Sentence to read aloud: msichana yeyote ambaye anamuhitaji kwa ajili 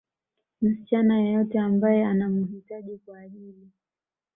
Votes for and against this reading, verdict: 2, 0, accepted